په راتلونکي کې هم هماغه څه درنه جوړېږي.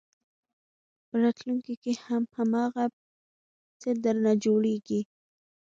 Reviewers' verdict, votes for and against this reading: accepted, 2, 0